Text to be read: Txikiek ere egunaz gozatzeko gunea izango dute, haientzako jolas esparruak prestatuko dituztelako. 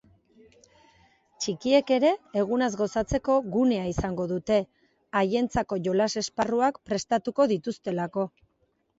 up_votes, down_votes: 2, 0